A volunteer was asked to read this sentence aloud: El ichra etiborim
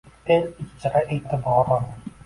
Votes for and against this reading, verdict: 1, 2, rejected